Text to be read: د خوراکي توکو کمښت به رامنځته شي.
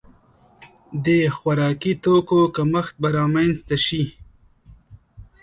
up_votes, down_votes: 2, 0